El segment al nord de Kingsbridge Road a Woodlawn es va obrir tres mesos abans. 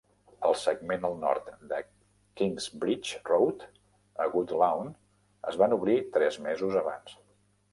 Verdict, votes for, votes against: rejected, 0, 2